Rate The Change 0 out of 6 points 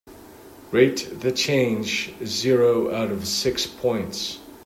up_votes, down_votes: 0, 2